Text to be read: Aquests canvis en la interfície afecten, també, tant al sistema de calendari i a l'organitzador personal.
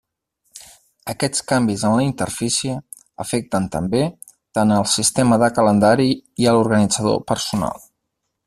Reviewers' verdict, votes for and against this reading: accepted, 4, 0